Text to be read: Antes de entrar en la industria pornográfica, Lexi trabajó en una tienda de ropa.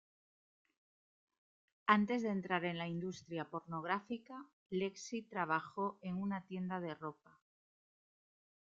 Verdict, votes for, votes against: rejected, 1, 2